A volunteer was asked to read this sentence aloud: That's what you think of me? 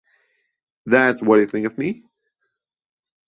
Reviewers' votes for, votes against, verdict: 2, 0, accepted